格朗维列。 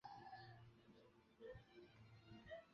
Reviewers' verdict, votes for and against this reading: rejected, 0, 3